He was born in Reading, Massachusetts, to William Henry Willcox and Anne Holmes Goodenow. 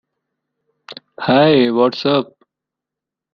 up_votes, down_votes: 1, 2